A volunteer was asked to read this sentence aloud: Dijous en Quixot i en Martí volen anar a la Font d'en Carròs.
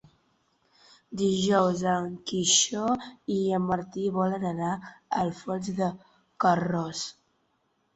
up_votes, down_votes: 0, 3